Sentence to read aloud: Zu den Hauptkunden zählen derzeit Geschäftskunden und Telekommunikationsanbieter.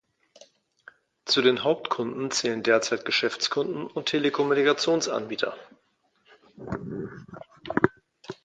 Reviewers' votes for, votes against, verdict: 2, 0, accepted